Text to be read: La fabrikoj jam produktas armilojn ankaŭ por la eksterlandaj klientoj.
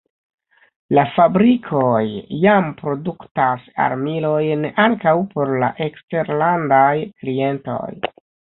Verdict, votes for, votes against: accepted, 2, 1